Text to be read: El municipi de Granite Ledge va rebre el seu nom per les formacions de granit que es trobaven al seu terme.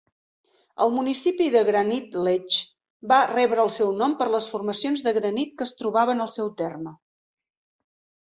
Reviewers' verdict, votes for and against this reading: accepted, 2, 0